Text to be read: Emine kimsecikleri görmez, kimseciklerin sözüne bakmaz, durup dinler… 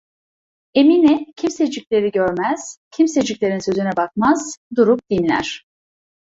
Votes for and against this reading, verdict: 0, 2, rejected